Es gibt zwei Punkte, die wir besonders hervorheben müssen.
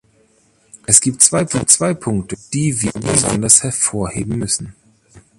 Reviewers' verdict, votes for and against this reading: rejected, 0, 2